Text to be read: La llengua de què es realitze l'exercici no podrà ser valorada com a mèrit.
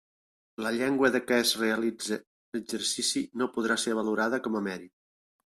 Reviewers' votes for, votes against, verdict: 2, 1, accepted